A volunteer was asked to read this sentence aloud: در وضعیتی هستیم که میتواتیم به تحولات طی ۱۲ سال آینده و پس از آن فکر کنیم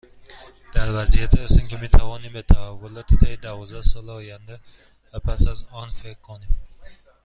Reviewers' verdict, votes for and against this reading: rejected, 0, 2